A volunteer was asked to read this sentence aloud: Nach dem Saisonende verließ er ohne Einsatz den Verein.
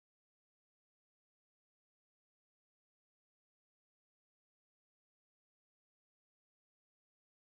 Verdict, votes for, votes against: rejected, 0, 2